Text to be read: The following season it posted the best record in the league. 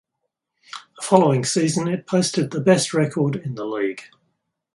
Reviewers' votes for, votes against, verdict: 4, 2, accepted